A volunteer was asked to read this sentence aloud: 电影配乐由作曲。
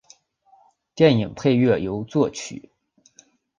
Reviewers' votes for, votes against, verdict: 2, 0, accepted